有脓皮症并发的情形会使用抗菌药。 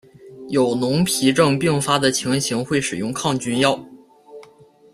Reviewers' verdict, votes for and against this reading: accepted, 2, 1